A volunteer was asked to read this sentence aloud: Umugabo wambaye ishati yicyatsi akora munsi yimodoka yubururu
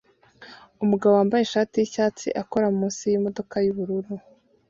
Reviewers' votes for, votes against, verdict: 2, 0, accepted